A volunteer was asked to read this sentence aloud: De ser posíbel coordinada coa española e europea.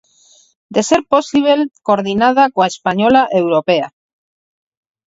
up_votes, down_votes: 0, 4